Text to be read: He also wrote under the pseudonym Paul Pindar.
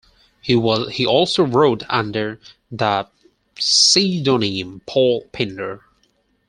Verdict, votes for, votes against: accepted, 4, 2